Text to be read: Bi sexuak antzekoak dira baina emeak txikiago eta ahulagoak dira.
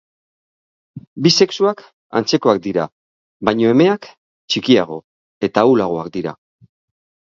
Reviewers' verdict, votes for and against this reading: accepted, 5, 0